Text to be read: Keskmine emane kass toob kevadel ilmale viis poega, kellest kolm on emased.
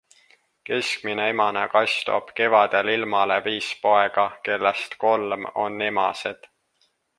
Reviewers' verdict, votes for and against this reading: accepted, 2, 0